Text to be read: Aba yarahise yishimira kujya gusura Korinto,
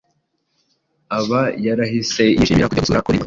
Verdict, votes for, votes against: rejected, 1, 2